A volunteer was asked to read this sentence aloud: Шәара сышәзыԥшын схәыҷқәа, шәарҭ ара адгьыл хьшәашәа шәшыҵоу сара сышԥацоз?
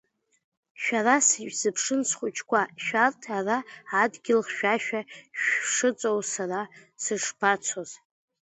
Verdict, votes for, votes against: rejected, 0, 2